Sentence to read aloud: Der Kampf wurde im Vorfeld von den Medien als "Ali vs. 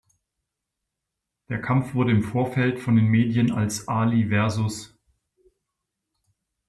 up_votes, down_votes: 2, 0